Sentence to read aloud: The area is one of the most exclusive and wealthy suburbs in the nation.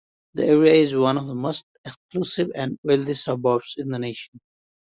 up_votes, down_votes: 2, 0